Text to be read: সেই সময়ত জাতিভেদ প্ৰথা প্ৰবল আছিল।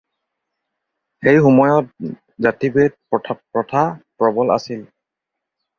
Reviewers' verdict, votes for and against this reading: rejected, 0, 4